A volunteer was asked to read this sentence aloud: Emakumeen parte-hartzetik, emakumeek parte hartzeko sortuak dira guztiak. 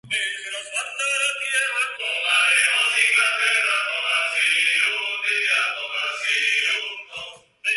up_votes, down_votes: 0, 5